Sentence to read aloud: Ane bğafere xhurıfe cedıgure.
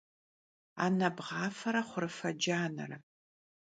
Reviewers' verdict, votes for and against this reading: rejected, 0, 2